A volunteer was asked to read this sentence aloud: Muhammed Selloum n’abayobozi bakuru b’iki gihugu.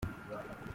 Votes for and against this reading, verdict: 0, 2, rejected